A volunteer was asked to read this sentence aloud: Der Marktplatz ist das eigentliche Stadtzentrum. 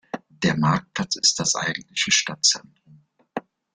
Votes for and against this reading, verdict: 0, 2, rejected